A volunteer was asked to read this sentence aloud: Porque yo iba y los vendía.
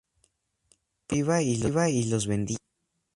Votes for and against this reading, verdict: 0, 2, rejected